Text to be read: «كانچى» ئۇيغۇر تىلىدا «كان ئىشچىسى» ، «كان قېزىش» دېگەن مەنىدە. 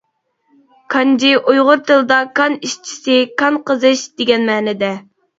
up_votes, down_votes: 0, 2